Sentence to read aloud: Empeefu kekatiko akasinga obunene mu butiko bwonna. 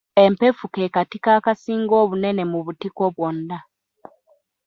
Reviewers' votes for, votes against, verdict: 0, 2, rejected